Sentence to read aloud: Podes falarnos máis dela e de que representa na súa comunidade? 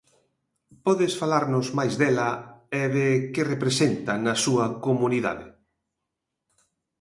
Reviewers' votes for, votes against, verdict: 2, 0, accepted